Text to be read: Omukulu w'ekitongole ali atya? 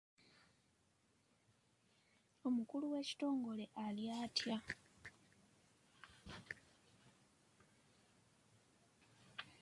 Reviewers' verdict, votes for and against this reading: rejected, 1, 2